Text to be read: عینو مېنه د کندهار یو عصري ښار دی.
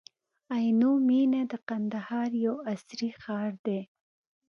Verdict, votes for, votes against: accepted, 3, 0